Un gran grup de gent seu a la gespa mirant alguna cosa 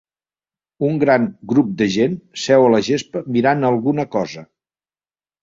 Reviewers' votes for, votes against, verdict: 2, 0, accepted